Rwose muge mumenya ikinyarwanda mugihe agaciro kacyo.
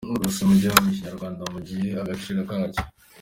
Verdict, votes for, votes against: rejected, 1, 2